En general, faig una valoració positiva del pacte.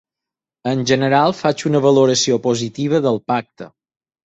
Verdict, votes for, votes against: accepted, 6, 0